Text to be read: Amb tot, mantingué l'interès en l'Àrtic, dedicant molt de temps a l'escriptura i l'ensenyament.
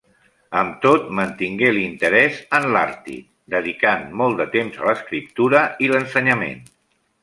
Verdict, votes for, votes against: accepted, 2, 1